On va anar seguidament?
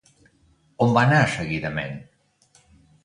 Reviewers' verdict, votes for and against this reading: accepted, 2, 0